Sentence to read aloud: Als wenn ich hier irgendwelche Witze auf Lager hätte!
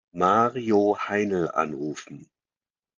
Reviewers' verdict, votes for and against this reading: rejected, 0, 2